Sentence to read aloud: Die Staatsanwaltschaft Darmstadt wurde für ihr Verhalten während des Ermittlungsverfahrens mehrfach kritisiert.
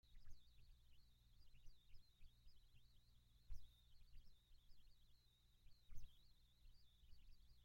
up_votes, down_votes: 0, 2